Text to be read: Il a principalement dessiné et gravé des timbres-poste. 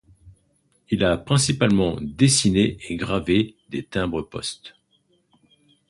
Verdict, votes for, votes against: accepted, 2, 0